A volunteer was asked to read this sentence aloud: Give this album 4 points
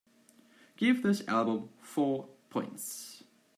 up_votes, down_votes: 0, 2